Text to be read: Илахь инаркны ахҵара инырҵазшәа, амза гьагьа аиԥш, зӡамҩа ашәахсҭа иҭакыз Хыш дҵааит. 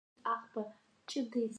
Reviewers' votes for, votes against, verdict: 1, 2, rejected